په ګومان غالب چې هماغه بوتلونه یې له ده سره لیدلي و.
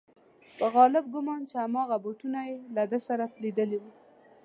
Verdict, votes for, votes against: rejected, 0, 2